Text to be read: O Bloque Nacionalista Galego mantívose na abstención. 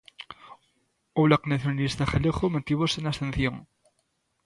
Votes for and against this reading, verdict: 2, 1, accepted